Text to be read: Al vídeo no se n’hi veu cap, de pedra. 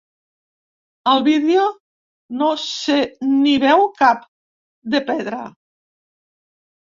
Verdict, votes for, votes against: rejected, 1, 2